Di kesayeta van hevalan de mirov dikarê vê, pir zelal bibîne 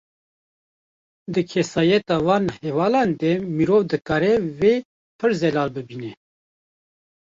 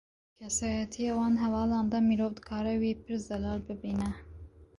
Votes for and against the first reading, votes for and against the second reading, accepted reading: 2, 0, 1, 2, first